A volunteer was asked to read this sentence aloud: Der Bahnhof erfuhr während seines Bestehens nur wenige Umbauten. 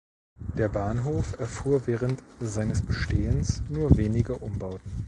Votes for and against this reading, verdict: 2, 0, accepted